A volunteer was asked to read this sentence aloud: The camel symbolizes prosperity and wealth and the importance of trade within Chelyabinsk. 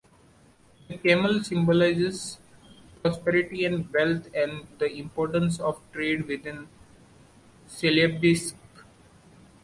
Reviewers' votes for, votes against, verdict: 0, 2, rejected